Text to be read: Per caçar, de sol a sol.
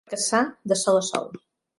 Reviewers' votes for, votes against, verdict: 0, 3, rejected